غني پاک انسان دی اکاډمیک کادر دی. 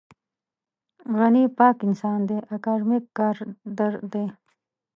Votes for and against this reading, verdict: 1, 2, rejected